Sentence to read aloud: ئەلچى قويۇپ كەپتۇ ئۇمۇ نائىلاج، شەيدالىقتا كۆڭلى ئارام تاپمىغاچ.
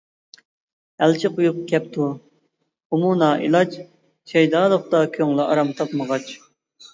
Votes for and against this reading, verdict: 2, 0, accepted